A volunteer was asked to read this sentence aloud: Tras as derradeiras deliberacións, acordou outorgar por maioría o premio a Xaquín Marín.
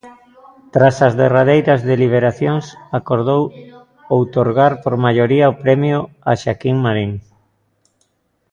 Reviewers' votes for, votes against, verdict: 0, 2, rejected